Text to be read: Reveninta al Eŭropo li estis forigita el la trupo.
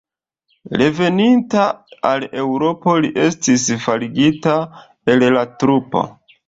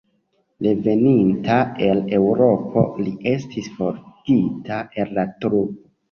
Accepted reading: second